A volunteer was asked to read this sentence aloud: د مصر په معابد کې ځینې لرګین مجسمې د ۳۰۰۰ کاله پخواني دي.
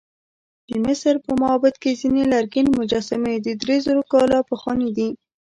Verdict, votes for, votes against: rejected, 0, 2